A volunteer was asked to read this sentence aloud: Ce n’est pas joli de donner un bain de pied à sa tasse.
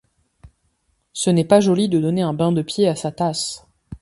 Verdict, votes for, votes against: accepted, 2, 0